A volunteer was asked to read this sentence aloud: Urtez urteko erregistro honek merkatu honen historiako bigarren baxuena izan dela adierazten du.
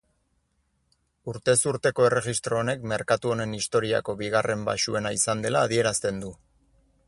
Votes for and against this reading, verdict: 4, 0, accepted